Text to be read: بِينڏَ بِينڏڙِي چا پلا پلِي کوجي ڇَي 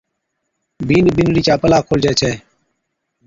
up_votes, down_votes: 2, 0